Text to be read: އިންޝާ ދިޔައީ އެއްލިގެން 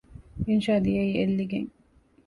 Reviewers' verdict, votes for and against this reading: accepted, 2, 0